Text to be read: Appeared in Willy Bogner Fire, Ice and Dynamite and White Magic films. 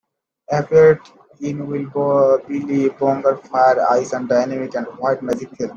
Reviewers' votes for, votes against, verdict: 1, 2, rejected